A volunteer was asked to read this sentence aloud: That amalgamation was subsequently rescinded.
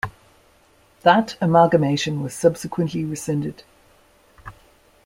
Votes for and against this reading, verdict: 2, 0, accepted